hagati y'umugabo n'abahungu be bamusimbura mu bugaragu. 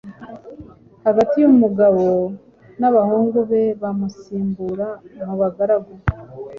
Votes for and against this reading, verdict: 0, 2, rejected